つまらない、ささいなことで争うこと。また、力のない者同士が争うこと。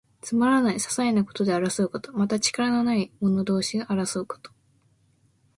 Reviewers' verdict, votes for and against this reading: accepted, 2, 0